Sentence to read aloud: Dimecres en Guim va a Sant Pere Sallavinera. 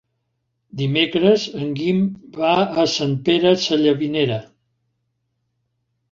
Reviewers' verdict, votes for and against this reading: accepted, 3, 0